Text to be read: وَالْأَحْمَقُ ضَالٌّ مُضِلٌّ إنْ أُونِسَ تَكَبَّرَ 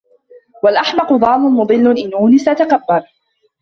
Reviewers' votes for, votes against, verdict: 2, 1, accepted